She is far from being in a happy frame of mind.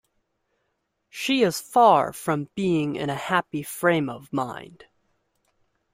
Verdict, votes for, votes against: accepted, 2, 0